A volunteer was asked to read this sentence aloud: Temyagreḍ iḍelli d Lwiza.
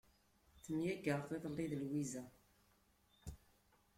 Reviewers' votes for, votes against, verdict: 2, 1, accepted